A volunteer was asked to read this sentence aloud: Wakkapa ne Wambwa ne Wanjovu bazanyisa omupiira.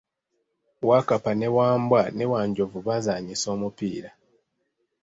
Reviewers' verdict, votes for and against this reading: rejected, 1, 2